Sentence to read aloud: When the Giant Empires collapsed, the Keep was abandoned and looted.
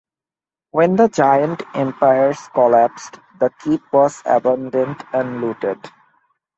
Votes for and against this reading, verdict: 2, 0, accepted